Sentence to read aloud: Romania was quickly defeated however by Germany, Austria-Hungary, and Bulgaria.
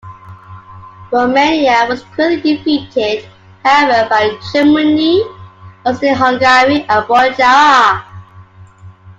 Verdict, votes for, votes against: accepted, 2, 1